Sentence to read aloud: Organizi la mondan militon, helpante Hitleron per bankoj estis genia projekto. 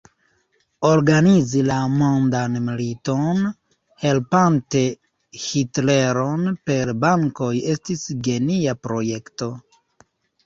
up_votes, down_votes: 0, 2